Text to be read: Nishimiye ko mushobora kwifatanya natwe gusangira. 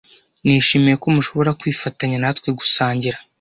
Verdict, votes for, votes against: accepted, 2, 0